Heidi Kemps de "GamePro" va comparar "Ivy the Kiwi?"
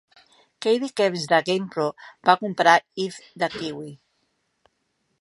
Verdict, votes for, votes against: rejected, 1, 3